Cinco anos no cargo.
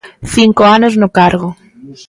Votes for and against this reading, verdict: 2, 1, accepted